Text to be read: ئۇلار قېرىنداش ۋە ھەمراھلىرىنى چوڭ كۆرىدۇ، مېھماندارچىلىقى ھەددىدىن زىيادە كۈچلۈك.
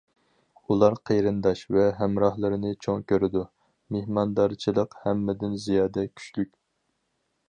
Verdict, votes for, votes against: rejected, 0, 4